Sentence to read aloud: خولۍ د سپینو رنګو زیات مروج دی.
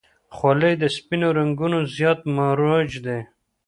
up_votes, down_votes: 0, 2